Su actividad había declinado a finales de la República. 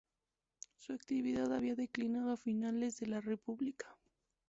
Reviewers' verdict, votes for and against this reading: accepted, 2, 0